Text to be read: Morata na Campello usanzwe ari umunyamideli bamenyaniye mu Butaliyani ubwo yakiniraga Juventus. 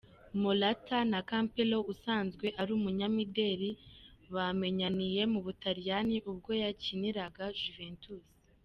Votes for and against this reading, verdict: 2, 0, accepted